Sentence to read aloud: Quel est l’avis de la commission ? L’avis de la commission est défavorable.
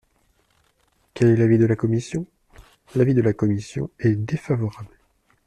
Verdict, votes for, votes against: accepted, 2, 0